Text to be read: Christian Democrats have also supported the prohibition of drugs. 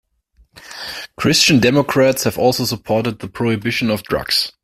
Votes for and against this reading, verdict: 2, 0, accepted